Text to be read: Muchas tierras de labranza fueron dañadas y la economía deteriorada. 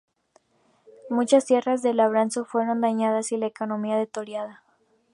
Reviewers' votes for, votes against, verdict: 0, 2, rejected